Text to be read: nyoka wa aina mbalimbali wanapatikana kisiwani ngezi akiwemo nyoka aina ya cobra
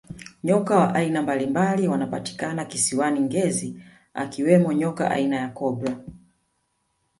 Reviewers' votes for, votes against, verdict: 2, 1, accepted